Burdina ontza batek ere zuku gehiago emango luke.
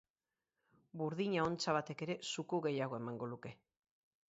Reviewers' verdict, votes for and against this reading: rejected, 0, 2